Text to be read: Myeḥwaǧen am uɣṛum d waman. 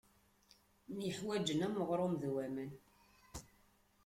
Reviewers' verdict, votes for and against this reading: rejected, 0, 2